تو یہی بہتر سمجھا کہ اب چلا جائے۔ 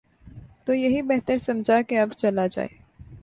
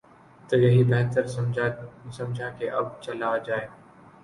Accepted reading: first